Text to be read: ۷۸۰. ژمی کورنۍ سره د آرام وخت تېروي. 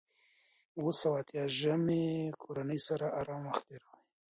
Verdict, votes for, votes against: rejected, 0, 2